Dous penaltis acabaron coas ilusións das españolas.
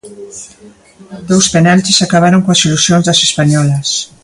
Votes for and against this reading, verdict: 2, 0, accepted